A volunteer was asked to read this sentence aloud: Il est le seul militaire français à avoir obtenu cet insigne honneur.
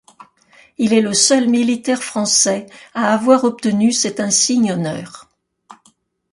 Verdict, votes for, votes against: accepted, 2, 0